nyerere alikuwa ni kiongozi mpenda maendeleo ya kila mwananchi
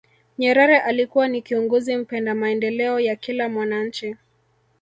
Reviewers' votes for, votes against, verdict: 2, 0, accepted